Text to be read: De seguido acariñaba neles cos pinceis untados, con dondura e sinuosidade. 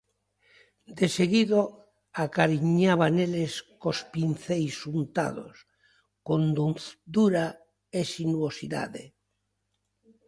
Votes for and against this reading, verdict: 0, 2, rejected